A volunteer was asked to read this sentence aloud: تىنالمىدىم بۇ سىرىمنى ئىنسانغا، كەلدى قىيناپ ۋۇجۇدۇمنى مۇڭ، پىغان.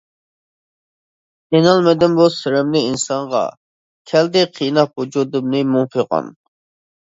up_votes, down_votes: 2, 0